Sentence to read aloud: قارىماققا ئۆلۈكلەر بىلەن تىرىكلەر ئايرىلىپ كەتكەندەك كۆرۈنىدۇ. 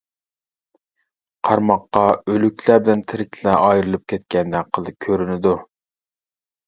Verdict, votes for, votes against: rejected, 0, 2